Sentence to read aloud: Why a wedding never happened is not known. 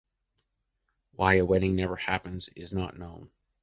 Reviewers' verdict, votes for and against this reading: rejected, 0, 2